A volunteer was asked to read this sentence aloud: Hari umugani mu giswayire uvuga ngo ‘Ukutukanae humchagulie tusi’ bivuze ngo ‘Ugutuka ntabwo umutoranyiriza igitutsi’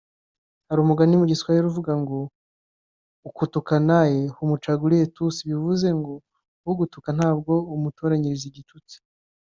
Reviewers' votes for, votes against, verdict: 2, 0, accepted